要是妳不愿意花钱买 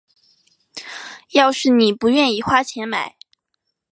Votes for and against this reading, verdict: 2, 0, accepted